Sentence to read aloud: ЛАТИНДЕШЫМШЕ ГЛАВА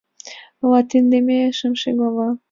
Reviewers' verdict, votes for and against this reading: rejected, 1, 2